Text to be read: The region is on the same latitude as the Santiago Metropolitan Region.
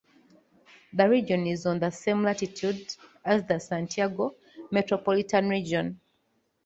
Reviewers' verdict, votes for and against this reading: accepted, 2, 0